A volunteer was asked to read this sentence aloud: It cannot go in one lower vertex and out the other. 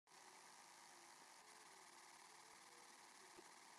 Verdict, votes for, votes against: rejected, 0, 2